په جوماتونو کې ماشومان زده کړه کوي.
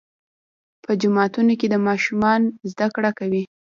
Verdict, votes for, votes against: accepted, 2, 0